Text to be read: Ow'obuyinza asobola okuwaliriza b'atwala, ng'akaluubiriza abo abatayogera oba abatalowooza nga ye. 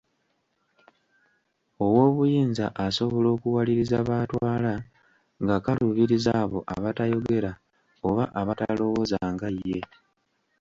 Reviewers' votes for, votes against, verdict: 2, 1, accepted